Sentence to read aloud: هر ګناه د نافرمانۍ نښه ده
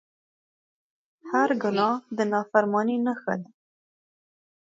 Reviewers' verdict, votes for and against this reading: accepted, 2, 1